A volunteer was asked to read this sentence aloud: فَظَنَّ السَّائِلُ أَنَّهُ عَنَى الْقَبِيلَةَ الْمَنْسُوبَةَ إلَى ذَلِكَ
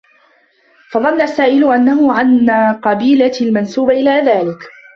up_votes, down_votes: 0, 2